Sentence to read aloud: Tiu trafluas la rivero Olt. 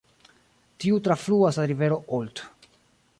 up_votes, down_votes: 2, 0